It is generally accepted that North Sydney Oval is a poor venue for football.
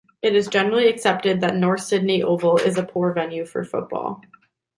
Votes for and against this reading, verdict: 2, 0, accepted